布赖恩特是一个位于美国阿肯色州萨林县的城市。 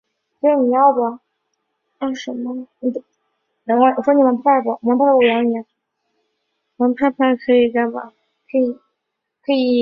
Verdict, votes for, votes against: rejected, 0, 2